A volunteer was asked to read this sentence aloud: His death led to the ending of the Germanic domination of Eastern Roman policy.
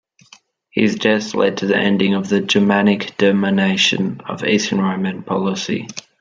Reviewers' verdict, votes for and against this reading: accepted, 2, 0